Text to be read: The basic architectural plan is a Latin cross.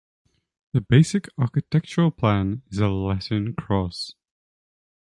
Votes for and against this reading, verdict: 3, 0, accepted